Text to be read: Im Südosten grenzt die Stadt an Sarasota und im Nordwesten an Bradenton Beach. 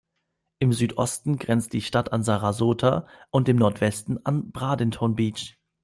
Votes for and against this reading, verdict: 2, 1, accepted